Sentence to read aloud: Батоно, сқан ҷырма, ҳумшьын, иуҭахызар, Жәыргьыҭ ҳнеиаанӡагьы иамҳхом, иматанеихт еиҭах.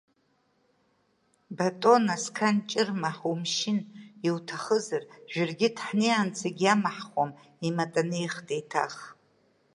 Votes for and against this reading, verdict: 2, 1, accepted